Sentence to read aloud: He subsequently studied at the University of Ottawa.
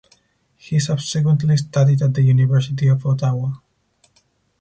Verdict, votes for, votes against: accepted, 4, 0